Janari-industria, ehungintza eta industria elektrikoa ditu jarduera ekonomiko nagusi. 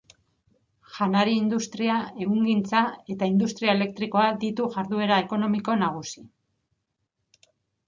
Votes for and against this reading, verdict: 3, 0, accepted